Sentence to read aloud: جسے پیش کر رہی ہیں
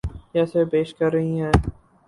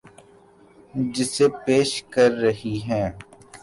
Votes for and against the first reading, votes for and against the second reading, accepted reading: 0, 2, 3, 0, second